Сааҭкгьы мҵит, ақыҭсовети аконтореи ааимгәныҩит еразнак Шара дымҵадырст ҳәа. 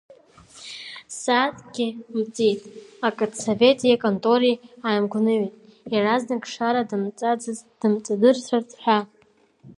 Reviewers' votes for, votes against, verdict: 2, 3, rejected